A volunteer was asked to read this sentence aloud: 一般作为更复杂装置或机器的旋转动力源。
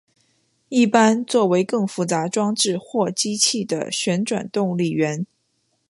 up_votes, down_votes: 2, 1